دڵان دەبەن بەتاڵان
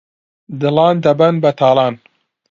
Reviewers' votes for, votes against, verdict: 2, 0, accepted